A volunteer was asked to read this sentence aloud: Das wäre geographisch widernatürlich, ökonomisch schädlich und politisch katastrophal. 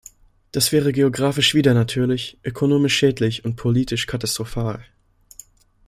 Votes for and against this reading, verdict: 2, 0, accepted